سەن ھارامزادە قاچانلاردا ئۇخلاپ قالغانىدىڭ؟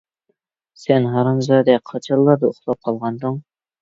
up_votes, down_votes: 2, 0